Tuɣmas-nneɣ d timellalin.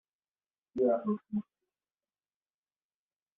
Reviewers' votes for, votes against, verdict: 0, 2, rejected